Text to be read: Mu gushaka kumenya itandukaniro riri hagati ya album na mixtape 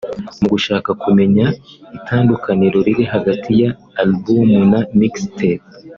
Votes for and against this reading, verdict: 2, 0, accepted